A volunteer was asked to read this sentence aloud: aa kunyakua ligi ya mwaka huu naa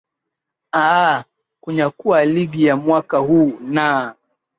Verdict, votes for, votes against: rejected, 0, 2